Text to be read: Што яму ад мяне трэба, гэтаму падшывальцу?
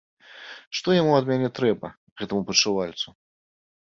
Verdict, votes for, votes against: accepted, 2, 0